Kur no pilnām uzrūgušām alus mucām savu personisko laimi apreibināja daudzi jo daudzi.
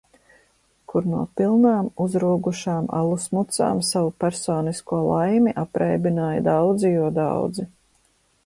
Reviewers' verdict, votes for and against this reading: accepted, 2, 0